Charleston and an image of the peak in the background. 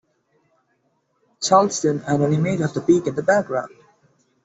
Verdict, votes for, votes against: rejected, 1, 2